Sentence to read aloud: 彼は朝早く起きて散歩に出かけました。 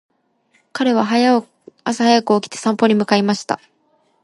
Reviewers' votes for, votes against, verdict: 0, 3, rejected